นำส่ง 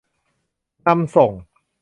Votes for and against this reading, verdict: 2, 1, accepted